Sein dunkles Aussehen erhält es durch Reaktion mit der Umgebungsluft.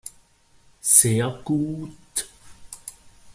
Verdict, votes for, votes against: rejected, 0, 2